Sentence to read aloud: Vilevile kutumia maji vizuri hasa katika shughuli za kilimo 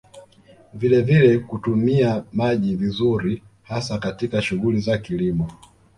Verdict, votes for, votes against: rejected, 1, 2